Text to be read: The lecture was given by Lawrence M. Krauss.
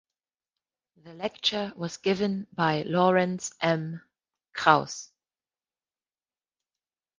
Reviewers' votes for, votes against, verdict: 2, 0, accepted